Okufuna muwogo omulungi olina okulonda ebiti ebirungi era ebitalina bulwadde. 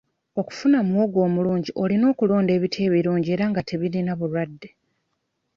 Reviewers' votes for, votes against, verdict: 1, 2, rejected